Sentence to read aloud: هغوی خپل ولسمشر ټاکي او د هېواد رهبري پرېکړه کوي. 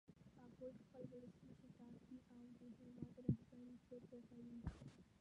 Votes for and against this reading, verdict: 1, 2, rejected